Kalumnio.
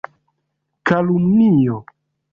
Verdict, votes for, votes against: accepted, 2, 0